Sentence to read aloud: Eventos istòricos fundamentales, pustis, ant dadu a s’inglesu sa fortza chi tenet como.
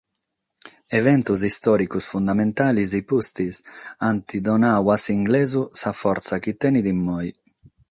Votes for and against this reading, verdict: 0, 6, rejected